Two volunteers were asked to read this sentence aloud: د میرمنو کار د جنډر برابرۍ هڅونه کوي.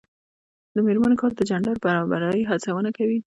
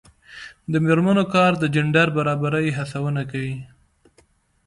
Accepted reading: second